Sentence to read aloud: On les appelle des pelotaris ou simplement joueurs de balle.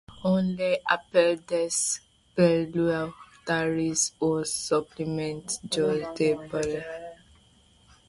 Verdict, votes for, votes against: rejected, 0, 2